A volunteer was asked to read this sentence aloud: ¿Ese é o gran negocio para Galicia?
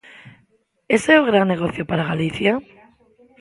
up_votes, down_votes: 3, 0